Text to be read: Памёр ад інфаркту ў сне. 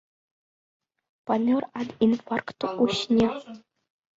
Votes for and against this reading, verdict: 2, 0, accepted